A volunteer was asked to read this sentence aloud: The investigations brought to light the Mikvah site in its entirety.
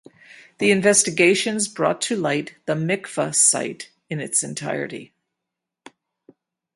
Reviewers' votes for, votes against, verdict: 4, 0, accepted